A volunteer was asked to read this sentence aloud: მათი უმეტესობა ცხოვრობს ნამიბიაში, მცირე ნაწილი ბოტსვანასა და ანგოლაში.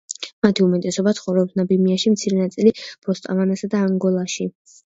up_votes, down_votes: 1, 2